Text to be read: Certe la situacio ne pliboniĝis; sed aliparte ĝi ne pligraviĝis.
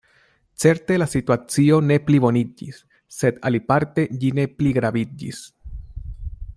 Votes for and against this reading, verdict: 2, 0, accepted